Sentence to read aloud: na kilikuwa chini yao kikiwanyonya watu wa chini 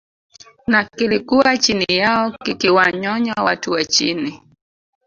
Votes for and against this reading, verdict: 0, 2, rejected